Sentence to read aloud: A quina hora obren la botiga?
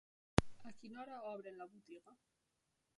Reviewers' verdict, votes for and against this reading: rejected, 1, 2